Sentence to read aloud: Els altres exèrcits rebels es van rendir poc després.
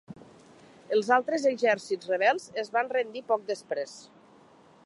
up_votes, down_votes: 2, 0